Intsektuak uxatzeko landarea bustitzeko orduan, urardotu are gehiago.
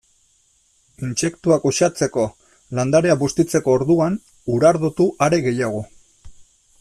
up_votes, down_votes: 2, 0